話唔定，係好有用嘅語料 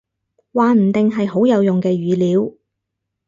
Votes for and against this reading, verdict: 4, 0, accepted